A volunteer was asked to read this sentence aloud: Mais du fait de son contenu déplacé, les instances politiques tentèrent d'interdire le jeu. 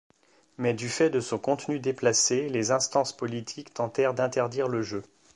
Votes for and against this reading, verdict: 2, 0, accepted